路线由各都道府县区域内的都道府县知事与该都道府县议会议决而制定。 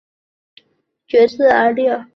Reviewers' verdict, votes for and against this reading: rejected, 2, 4